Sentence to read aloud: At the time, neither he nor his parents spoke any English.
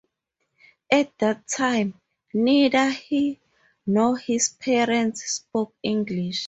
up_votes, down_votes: 2, 4